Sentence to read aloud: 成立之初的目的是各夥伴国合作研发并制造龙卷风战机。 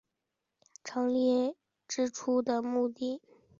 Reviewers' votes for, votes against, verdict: 0, 2, rejected